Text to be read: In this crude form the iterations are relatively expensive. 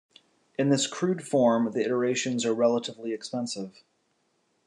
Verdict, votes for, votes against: accepted, 2, 0